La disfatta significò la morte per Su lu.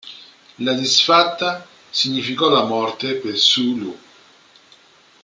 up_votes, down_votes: 2, 0